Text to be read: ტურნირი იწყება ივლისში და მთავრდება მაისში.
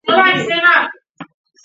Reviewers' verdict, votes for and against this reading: rejected, 0, 2